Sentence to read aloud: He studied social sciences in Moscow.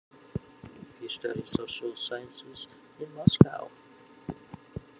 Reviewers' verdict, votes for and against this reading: accepted, 2, 1